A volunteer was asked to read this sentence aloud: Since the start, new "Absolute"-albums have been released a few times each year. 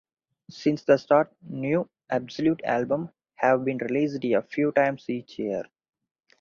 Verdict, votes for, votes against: rejected, 0, 2